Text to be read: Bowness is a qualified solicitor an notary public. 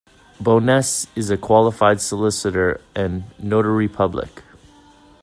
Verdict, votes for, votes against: accepted, 2, 1